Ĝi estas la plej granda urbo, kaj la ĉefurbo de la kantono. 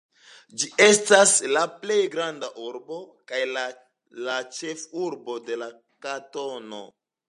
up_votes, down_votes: 2, 0